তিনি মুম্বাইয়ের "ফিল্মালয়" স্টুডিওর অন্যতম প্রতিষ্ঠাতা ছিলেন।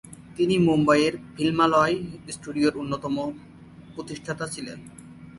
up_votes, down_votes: 26, 8